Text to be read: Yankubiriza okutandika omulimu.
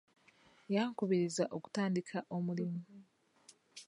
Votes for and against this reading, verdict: 0, 2, rejected